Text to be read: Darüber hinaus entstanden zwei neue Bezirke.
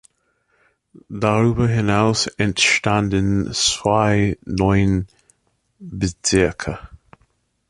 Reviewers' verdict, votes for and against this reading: rejected, 0, 2